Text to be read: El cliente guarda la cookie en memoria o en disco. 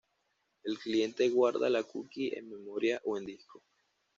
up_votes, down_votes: 2, 0